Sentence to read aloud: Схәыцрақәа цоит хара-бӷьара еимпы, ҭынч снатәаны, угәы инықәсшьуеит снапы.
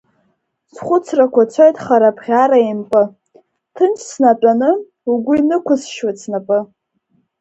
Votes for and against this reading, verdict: 3, 0, accepted